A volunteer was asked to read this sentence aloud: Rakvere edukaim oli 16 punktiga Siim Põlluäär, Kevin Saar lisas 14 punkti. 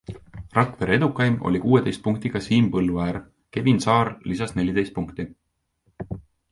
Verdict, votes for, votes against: rejected, 0, 2